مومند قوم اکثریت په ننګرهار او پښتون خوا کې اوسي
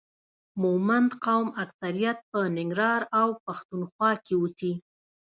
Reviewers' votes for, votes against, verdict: 2, 0, accepted